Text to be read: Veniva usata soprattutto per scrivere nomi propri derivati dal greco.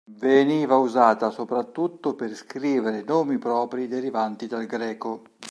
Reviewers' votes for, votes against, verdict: 1, 2, rejected